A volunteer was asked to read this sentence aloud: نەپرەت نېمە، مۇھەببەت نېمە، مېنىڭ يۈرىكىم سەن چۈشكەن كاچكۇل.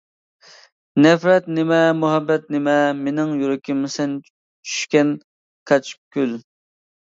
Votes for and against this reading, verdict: 1, 2, rejected